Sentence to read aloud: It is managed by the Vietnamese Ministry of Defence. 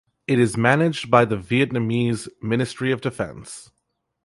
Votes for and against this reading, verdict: 2, 2, rejected